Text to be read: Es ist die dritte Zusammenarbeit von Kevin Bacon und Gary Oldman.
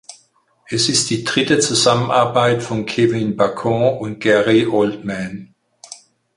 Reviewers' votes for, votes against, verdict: 2, 4, rejected